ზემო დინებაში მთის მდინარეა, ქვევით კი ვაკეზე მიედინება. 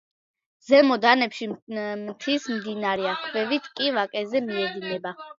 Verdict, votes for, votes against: rejected, 0, 2